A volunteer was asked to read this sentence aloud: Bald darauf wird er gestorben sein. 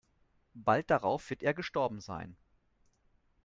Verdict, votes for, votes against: accepted, 2, 0